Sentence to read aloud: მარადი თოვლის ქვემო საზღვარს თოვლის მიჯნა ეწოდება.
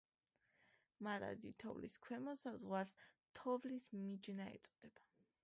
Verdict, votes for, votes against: accepted, 2, 0